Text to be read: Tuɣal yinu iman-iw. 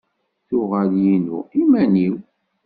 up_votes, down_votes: 2, 0